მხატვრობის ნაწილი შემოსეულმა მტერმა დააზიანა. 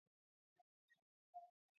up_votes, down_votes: 1, 2